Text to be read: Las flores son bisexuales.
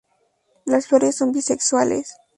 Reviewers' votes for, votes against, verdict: 2, 0, accepted